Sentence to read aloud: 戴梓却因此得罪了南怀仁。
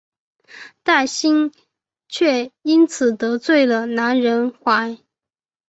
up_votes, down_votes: 2, 1